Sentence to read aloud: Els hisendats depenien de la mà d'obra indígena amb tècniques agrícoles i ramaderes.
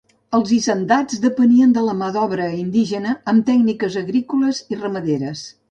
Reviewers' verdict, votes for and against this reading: accepted, 3, 0